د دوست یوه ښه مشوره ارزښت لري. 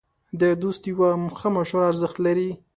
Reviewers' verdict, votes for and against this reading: accepted, 2, 0